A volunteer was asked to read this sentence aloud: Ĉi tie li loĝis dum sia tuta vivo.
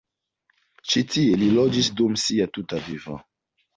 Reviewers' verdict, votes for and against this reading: accepted, 2, 1